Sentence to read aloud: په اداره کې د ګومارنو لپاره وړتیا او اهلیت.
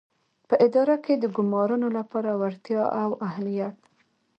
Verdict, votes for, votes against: rejected, 0, 2